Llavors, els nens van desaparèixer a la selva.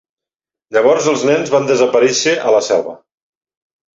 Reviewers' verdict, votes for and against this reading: accepted, 2, 0